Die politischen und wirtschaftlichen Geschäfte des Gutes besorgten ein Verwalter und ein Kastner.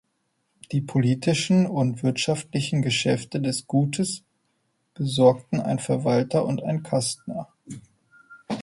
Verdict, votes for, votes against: accepted, 2, 0